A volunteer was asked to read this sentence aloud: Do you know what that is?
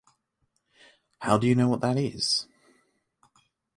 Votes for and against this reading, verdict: 0, 3, rejected